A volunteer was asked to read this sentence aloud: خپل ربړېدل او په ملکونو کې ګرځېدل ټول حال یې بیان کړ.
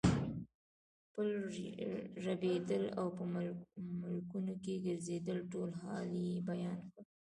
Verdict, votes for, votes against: rejected, 2, 3